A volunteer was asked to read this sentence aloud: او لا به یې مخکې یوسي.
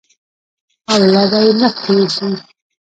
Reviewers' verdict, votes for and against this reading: rejected, 0, 2